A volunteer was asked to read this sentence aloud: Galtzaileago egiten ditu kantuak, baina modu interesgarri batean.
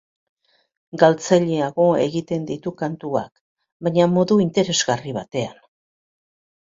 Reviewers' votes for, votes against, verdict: 1, 2, rejected